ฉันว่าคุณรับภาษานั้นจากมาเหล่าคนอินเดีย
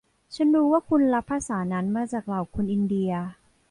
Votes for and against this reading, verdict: 0, 2, rejected